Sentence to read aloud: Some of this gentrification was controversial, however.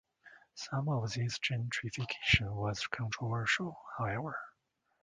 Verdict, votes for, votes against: accepted, 2, 0